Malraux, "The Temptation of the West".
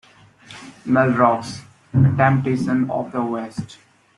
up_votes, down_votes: 1, 2